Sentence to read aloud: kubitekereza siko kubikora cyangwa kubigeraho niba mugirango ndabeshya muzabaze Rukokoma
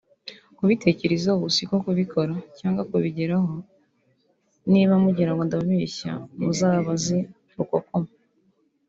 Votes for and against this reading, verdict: 2, 1, accepted